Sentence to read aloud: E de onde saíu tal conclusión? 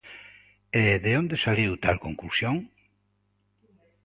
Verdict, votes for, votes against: rejected, 0, 2